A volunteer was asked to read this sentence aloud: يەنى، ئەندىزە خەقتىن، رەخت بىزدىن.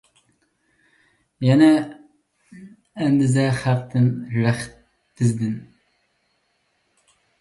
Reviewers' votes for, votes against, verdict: 2, 1, accepted